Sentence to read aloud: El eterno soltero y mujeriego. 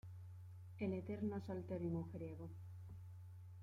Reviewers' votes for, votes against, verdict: 1, 2, rejected